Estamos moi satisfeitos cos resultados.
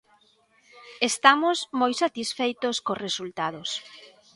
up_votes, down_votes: 2, 0